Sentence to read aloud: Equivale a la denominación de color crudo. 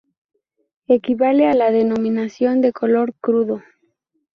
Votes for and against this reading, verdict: 2, 0, accepted